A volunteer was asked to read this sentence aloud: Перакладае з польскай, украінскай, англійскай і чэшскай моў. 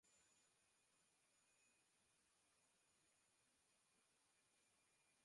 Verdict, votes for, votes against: rejected, 0, 2